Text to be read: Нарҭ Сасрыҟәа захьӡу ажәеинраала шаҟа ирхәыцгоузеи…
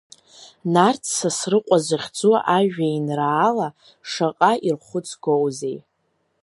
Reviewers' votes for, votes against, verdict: 2, 0, accepted